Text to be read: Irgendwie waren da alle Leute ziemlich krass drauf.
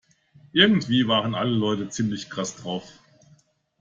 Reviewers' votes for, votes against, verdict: 0, 2, rejected